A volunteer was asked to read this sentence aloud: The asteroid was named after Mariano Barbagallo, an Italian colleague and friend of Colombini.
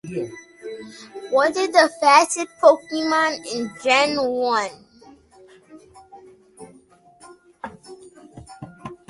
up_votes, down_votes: 0, 2